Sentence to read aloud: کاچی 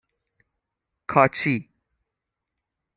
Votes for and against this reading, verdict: 6, 3, accepted